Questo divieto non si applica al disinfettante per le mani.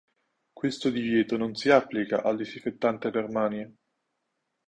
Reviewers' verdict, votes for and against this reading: rejected, 0, 2